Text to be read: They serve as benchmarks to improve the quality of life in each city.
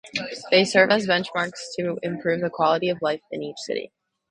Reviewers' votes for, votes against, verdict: 4, 0, accepted